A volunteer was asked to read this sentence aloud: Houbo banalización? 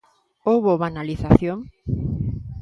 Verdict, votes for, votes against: accepted, 2, 0